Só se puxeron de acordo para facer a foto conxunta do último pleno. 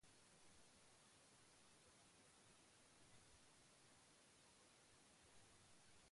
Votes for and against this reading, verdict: 0, 2, rejected